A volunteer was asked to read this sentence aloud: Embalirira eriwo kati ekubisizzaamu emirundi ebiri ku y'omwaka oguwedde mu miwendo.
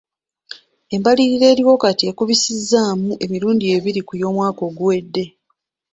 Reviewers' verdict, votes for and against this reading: rejected, 0, 2